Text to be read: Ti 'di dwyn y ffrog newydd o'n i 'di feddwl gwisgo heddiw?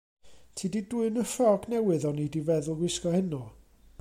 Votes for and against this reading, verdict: 1, 2, rejected